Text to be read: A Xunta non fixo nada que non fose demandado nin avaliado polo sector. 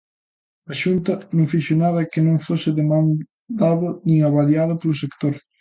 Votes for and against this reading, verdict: 1, 2, rejected